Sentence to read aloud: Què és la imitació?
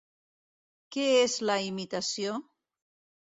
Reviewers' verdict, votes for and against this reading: accepted, 2, 0